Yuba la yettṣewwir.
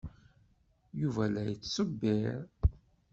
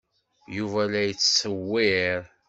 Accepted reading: second